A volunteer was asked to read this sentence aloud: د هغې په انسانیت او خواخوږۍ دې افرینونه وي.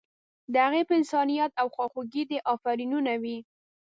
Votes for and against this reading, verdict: 1, 2, rejected